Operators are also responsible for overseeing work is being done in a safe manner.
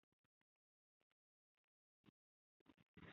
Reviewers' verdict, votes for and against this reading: rejected, 0, 2